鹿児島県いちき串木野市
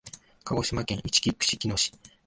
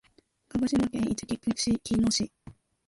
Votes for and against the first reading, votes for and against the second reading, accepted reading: 2, 0, 0, 2, first